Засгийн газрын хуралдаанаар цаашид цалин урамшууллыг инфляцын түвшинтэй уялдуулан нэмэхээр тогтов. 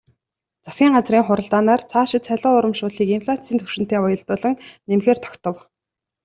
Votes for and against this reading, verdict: 2, 0, accepted